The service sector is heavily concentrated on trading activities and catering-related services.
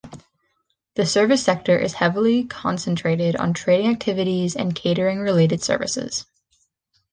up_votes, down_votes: 2, 0